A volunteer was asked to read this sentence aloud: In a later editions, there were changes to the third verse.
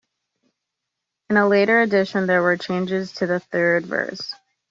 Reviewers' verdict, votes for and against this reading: rejected, 1, 2